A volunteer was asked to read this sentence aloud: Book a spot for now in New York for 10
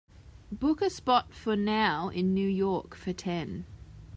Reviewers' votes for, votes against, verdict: 0, 2, rejected